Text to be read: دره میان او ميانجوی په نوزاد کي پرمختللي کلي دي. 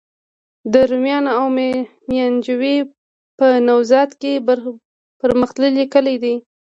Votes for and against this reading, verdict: 1, 2, rejected